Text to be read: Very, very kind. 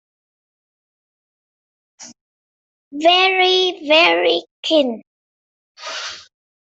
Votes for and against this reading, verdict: 0, 2, rejected